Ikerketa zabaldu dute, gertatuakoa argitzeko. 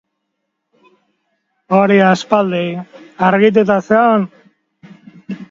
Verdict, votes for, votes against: rejected, 0, 2